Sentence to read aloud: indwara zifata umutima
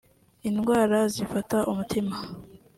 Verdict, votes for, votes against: rejected, 1, 2